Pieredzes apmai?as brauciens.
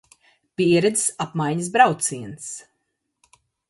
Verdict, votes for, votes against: rejected, 1, 2